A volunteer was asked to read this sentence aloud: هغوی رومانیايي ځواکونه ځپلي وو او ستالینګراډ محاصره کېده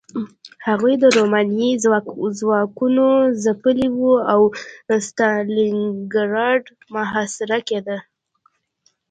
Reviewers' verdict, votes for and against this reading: accepted, 2, 0